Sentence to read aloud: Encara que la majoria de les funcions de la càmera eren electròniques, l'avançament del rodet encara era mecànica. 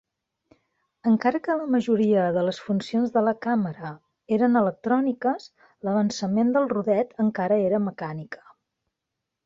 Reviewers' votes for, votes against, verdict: 3, 0, accepted